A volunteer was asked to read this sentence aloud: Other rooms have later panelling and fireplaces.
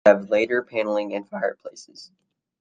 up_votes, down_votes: 0, 2